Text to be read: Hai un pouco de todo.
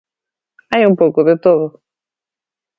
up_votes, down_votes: 2, 0